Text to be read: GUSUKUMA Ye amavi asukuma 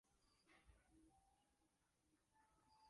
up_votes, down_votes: 0, 2